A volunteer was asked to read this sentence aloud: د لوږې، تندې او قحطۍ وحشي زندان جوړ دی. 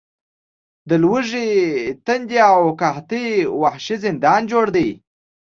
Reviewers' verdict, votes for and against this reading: accepted, 2, 0